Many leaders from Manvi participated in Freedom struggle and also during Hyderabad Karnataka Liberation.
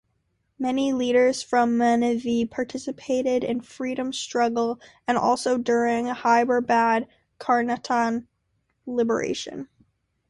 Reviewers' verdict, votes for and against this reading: rejected, 0, 2